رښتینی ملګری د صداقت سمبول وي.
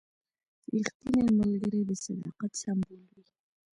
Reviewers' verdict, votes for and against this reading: accepted, 2, 0